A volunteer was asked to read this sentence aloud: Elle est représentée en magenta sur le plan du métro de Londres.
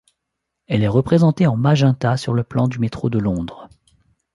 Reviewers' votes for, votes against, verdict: 2, 1, accepted